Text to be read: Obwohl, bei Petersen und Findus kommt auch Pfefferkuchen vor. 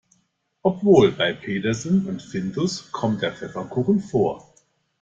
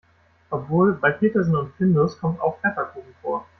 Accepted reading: second